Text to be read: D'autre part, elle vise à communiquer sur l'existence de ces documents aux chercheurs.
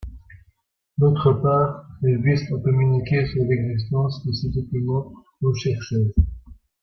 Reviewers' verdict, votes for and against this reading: rejected, 0, 2